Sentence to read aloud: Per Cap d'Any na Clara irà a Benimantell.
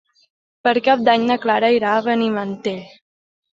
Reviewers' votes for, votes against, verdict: 4, 2, accepted